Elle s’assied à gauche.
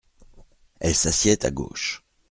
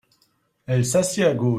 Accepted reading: first